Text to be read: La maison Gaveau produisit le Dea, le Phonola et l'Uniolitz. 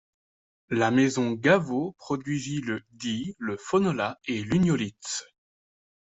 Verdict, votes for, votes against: accepted, 2, 0